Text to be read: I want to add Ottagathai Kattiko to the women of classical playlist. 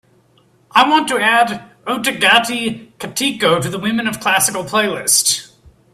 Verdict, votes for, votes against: accepted, 2, 0